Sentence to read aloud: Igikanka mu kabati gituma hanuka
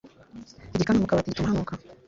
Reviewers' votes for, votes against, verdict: 1, 2, rejected